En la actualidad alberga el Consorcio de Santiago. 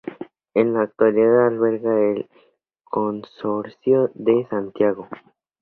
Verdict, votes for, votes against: rejected, 0, 2